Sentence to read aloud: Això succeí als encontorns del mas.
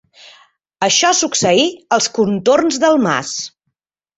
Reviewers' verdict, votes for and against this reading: rejected, 0, 2